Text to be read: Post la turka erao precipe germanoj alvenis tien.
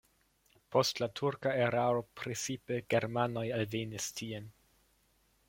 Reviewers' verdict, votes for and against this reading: rejected, 1, 2